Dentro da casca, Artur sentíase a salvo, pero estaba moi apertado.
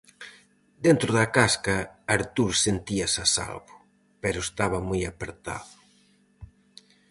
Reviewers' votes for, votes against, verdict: 4, 0, accepted